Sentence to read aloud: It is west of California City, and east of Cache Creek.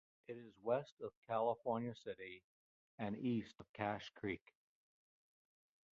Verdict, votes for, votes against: rejected, 0, 2